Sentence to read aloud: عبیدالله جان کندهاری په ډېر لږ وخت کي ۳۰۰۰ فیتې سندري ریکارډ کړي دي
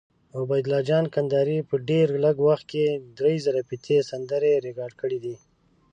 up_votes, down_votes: 0, 2